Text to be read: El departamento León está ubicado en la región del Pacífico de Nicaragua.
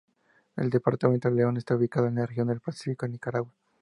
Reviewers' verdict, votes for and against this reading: accepted, 2, 0